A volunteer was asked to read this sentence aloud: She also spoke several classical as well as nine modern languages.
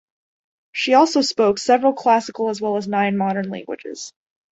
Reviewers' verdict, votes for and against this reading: accepted, 2, 0